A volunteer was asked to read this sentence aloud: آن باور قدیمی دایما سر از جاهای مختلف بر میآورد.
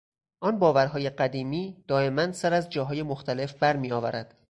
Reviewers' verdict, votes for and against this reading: rejected, 0, 4